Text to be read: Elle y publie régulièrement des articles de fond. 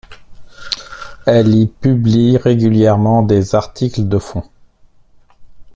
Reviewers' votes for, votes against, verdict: 2, 1, accepted